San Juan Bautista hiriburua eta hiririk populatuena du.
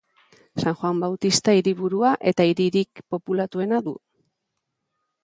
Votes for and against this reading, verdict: 2, 1, accepted